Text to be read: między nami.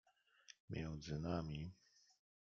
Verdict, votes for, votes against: accepted, 2, 0